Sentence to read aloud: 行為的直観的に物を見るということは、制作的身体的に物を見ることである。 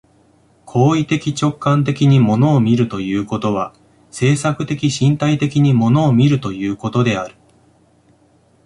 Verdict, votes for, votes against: rejected, 1, 2